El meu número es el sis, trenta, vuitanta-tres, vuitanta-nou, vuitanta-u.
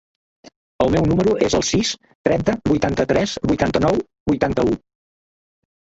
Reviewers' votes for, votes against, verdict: 0, 2, rejected